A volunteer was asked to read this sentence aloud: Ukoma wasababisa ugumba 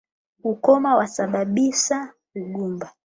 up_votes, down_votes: 8, 0